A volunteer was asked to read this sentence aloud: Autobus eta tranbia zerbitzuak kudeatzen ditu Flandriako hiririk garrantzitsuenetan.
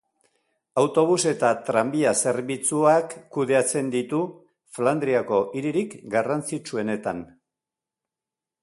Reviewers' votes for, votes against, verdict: 4, 0, accepted